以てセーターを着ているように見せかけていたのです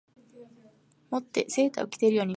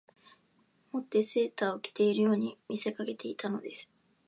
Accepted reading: second